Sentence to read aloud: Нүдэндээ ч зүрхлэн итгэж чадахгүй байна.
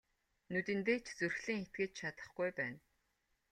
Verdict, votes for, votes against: accepted, 2, 0